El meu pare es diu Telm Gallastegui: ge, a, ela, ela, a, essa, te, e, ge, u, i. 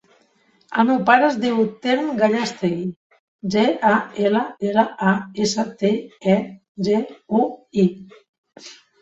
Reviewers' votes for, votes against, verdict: 1, 2, rejected